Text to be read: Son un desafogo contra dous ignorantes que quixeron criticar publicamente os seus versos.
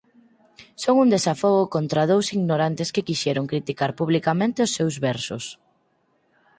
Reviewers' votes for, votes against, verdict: 4, 0, accepted